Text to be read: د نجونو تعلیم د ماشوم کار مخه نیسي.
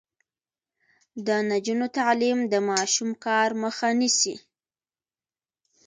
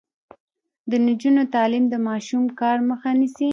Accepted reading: first